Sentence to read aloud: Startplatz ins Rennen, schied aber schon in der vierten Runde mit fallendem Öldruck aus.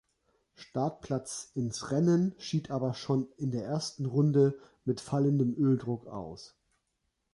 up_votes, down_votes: 1, 2